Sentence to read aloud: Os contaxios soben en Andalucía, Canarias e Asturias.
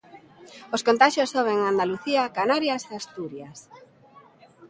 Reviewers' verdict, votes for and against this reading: accepted, 3, 0